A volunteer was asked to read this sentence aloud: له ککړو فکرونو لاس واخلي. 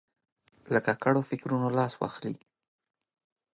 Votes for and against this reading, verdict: 2, 0, accepted